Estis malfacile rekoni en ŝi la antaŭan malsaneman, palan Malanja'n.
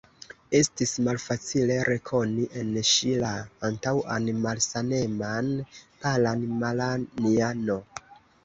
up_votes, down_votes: 1, 2